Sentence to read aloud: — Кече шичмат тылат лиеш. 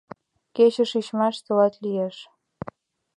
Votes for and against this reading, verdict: 0, 2, rejected